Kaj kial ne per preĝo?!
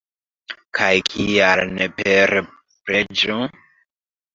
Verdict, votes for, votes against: rejected, 1, 2